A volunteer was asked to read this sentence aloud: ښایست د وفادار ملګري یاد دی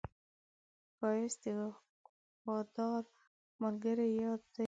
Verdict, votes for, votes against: rejected, 0, 2